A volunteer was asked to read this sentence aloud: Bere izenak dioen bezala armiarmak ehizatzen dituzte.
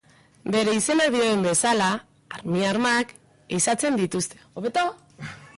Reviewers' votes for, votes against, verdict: 0, 4, rejected